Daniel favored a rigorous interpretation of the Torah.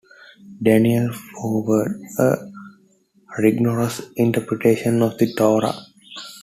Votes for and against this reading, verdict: 2, 1, accepted